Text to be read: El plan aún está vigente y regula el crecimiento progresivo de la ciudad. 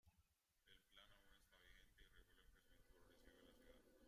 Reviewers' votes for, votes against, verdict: 0, 2, rejected